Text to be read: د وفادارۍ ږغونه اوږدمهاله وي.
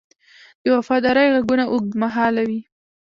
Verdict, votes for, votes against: accepted, 2, 0